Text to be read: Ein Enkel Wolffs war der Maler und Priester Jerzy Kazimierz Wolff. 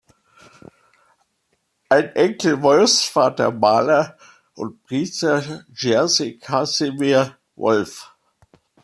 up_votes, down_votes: 2, 1